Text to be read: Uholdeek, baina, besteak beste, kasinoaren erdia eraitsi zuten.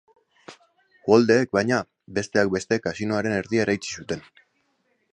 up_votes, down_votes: 2, 0